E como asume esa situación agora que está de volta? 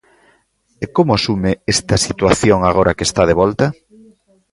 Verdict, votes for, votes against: rejected, 0, 2